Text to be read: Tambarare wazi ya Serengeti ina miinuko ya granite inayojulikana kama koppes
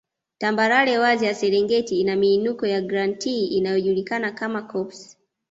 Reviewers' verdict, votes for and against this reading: rejected, 1, 2